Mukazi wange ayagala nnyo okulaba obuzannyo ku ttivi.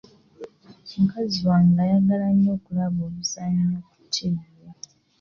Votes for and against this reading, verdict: 2, 1, accepted